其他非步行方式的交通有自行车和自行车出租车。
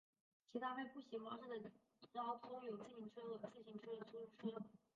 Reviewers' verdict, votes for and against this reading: rejected, 0, 2